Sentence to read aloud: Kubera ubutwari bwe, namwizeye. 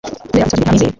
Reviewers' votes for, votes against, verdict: 1, 2, rejected